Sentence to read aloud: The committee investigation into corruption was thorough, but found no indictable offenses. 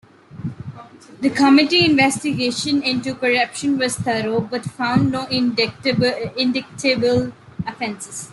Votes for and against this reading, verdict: 1, 2, rejected